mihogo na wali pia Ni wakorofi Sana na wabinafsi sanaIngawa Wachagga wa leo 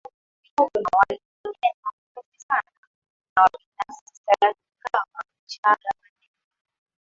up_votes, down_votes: 0, 2